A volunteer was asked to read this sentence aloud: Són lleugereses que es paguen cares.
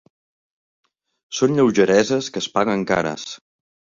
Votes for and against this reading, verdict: 2, 0, accepted